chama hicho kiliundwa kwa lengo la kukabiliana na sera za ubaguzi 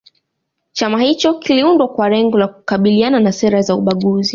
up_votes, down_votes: 2, 0